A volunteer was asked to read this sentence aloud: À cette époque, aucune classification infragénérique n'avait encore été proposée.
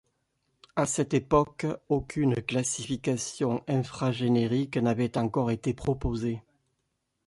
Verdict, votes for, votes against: accepted, 2, 0